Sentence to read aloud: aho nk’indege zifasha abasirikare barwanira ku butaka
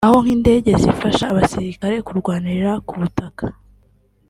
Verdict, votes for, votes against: rejected, 1, 2